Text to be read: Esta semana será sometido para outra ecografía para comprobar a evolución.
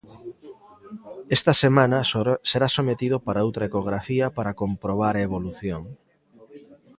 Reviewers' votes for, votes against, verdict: 1, 2, rejected